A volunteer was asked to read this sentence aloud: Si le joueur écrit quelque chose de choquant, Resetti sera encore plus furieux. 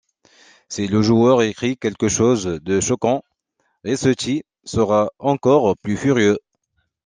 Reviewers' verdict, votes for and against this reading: accepted, 2, 0